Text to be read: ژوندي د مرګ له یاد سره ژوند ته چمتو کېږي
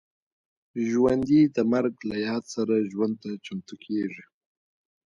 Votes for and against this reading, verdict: 0, 2, rejected